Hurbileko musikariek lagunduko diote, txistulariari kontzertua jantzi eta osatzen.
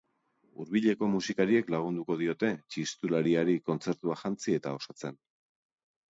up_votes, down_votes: 2, 0